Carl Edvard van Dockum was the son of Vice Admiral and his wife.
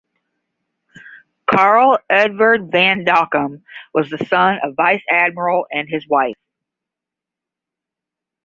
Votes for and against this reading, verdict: 10, 0, accepted